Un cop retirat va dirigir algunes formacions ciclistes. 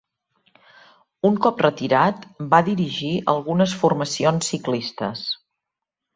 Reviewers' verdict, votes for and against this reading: accepted, 3, 0